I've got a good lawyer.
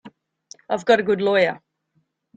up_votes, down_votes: 2, 0